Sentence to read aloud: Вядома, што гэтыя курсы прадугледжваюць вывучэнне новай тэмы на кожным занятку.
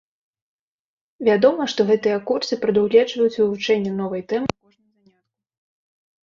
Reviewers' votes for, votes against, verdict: 1, 2, rejected